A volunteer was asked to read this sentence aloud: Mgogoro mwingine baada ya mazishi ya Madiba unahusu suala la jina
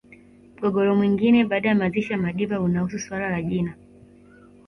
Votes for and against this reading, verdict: 2, 1, accepted